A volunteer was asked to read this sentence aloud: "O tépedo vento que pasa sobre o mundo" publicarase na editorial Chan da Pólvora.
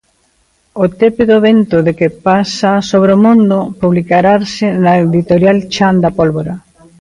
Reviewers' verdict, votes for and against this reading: rejected, 0, 2